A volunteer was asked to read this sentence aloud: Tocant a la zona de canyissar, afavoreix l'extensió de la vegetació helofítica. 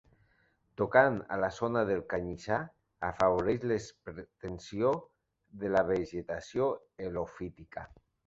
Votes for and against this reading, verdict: 0, 2, rejected